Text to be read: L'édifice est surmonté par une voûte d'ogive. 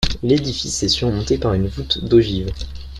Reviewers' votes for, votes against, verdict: 0, 2, rejected